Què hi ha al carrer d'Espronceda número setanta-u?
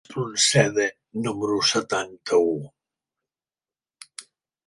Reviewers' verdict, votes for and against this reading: rejected, 0, 2